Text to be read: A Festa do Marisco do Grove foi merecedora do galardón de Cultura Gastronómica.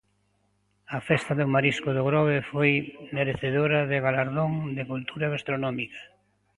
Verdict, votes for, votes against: rejected, 0, 2